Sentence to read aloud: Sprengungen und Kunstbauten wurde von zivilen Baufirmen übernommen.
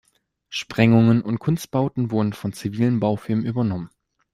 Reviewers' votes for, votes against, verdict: 2, 0, accepted